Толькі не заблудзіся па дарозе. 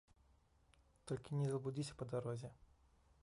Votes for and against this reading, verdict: 1, 2, rejected